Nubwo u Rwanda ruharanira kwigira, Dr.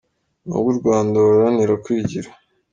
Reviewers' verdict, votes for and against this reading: rejected, 0, 2